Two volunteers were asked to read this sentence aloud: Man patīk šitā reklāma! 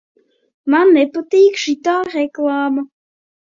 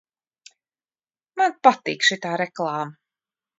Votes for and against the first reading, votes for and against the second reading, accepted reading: 0, 2, 2, 1, second